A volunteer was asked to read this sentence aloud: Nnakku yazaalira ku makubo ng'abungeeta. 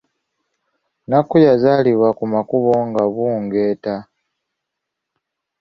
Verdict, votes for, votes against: rejected, 1, 2